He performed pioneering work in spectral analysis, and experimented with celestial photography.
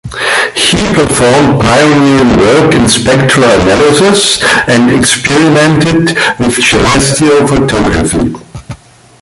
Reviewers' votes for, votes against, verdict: 0, 2, rejected